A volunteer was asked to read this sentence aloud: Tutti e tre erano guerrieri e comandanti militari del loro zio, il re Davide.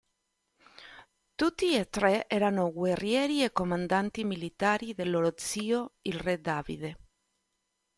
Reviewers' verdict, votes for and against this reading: accepted, 2, 0